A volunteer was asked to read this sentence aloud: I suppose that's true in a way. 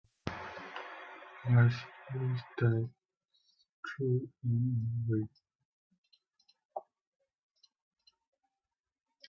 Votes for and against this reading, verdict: 1, 2, rejected